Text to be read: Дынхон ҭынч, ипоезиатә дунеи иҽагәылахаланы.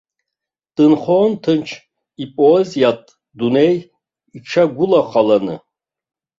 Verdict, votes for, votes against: rejected, 1, 2